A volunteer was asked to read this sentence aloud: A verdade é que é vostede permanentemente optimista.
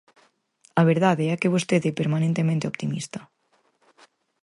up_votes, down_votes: 0, 4